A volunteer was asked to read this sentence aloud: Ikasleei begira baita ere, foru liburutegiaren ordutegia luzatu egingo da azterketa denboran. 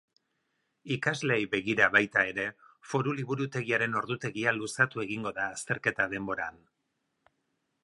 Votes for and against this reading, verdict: 4, 0, accepted